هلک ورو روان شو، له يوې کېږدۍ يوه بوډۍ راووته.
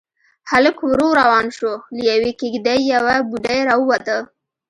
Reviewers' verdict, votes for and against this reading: accepted, 2, 0